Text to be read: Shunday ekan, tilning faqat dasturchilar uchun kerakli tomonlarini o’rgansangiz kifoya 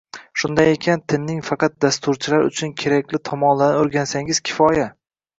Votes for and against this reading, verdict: 2, 0, accepted